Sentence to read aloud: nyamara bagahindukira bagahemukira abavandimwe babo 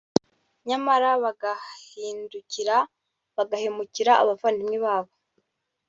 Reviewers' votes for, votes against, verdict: 1, 2, rejected